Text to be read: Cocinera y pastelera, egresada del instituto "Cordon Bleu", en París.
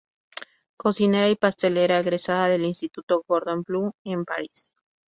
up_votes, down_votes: 2, 2